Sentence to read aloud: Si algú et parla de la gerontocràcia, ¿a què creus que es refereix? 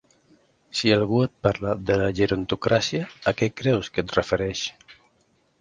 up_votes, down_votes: 2, 1